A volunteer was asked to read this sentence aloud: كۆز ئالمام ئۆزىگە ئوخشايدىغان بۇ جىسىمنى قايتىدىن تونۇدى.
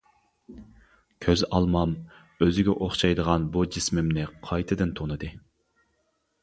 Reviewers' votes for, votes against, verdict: 1, 2, rejected